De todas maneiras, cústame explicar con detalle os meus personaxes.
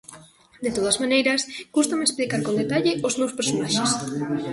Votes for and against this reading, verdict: 1, 2, rejected